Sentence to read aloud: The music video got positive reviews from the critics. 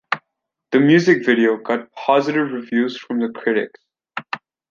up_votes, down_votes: 1, 2